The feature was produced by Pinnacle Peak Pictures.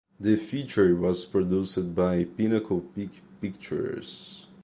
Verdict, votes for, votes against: accepted, 2, 0